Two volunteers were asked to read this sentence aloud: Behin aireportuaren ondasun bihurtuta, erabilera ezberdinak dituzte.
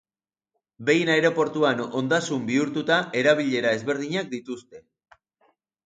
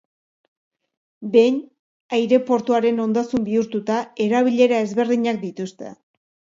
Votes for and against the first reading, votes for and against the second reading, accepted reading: 1, 2, 4, 0, second